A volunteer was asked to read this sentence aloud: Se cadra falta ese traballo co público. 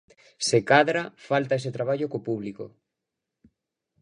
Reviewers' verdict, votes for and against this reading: accepted, 2, 0